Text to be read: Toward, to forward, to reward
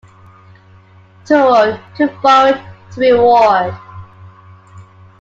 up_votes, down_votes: 1, 2